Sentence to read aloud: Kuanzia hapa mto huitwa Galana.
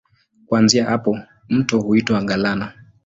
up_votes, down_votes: 18, 3